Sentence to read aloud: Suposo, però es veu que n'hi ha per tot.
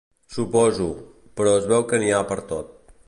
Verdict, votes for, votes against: accepted, 2, 0